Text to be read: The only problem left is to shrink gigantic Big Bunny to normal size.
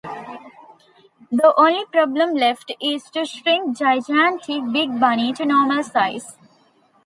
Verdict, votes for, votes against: accepted, 2, 0